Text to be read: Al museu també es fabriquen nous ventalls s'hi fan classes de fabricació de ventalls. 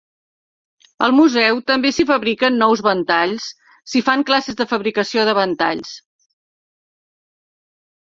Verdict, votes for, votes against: rejected, 0, 2